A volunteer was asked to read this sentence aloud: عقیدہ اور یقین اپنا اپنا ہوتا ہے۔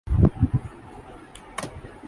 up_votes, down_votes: 0, 2